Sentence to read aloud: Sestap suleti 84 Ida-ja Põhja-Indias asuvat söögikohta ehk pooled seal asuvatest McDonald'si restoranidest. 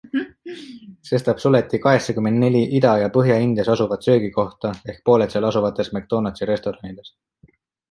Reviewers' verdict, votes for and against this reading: rejected, 0, 2